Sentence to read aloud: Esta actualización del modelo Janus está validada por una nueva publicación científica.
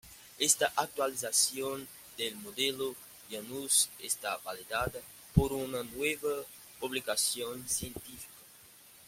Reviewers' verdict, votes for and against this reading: rejected, 1, 2